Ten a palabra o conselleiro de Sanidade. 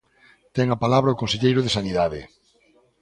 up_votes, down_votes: 2, 0